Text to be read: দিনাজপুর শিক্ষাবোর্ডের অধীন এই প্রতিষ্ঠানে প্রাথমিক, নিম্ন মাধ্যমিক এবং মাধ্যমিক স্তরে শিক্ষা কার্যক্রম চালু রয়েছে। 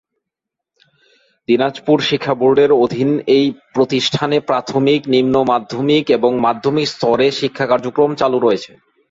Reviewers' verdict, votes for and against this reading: accepted, 2, 1